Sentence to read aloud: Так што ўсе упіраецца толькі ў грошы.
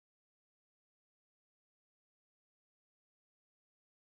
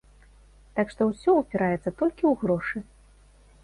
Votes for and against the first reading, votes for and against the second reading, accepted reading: 0, 2, 2, 0, second